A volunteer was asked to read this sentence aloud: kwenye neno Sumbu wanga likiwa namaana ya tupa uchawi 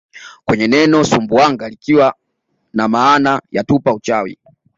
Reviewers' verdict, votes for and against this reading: accepted, 2, 0